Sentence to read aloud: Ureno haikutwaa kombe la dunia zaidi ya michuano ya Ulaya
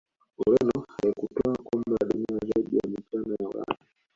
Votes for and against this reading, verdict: 1, 2, rejected